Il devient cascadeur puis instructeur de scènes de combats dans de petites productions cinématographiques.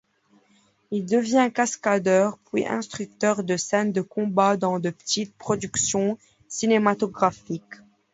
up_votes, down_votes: 2, 0